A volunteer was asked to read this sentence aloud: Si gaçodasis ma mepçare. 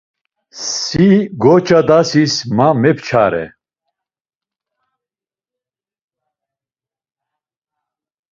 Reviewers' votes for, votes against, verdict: 1, 2, rejected